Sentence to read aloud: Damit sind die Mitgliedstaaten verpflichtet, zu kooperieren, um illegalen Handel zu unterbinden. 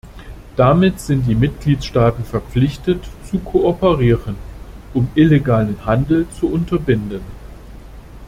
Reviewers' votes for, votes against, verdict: 2, 0, accepted